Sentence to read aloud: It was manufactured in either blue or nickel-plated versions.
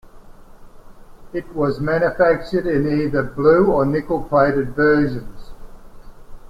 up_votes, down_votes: 2, 0